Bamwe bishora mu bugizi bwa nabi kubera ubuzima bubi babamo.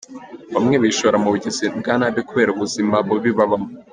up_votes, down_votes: 2, 0